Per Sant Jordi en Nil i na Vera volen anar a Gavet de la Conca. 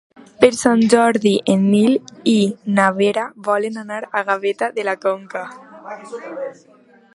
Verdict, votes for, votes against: rejected, 1, 2